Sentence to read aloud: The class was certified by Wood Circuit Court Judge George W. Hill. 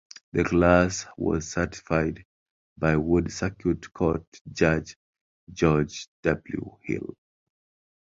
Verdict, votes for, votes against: accepted, 2, 0